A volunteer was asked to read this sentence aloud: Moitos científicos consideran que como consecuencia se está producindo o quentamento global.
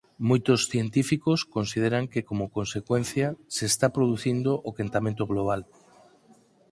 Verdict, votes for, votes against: accepted, 4, 0